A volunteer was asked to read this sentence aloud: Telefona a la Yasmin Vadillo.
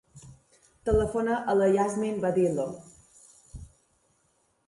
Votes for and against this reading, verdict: 1, 2, rejected